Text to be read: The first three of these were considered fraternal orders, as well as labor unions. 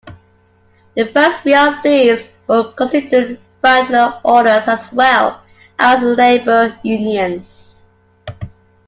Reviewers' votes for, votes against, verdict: 0, 2, rejected